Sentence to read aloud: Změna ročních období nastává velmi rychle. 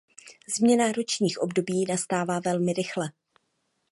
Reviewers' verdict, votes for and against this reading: accepted, 2, 0